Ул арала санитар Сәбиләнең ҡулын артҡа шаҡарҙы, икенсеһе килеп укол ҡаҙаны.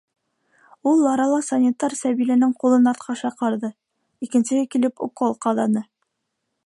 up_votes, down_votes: 2, 0